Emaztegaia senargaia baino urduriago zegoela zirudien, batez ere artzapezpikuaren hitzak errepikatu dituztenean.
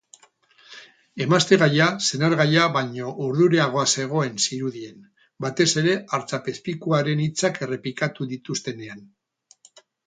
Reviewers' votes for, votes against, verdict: 2, 2, rejected